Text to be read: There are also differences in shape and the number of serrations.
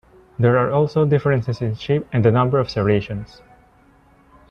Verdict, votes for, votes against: accepted, 2, 0